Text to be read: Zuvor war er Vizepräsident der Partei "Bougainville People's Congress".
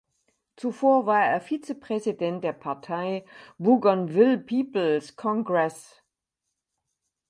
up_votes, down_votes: 4, 0